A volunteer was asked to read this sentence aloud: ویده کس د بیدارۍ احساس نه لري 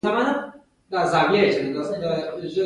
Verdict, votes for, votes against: accepted, 2, 0